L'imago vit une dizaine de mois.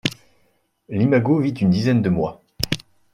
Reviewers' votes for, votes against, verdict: 2, 0, accepted